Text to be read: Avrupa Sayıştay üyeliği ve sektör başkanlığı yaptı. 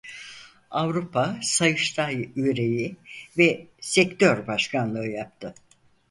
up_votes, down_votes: 2, 4